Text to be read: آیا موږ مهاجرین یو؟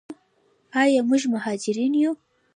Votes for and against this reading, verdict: 2, 1, accepted